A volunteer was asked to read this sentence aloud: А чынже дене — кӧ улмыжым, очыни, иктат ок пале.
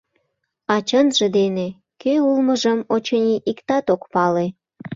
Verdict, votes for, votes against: accepted, 2, 0